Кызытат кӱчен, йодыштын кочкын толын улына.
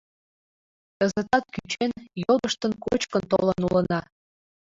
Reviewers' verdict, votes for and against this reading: accepted, 2, 0